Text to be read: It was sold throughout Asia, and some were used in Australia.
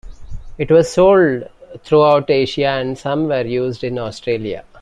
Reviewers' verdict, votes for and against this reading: accepted, 2, 0